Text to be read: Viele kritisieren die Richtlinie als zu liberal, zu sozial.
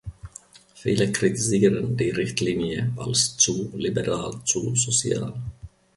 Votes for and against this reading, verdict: 1, 2, rejected